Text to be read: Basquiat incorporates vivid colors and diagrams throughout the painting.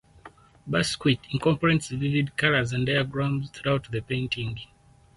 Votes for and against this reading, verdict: 0, 4, rejected